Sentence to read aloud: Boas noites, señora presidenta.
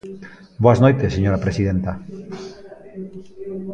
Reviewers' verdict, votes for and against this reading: accepted, 2, 0